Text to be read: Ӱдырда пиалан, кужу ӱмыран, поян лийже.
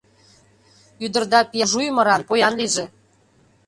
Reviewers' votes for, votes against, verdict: 0, 2, rejected